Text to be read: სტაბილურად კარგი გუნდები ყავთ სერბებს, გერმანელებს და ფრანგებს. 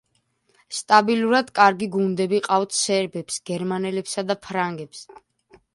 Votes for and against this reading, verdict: 1, 2, rejected